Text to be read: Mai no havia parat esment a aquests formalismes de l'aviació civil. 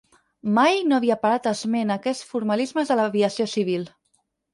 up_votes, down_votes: 2, 4